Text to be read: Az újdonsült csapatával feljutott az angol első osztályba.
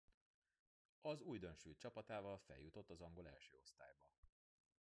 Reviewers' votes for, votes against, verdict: 2, 0, accepted